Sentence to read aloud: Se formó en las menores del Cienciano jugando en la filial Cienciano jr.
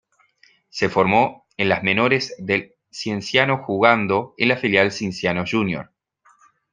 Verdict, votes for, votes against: rejected, 1, 2